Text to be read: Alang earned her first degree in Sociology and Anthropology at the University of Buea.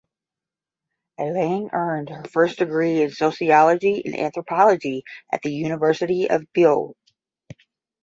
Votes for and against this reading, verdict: 10, 0, accepted